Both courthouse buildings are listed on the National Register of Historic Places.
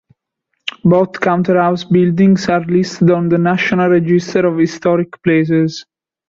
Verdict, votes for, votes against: rejected, 1, 2